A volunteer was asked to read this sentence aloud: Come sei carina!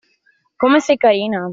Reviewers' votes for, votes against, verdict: 2, 1, accepted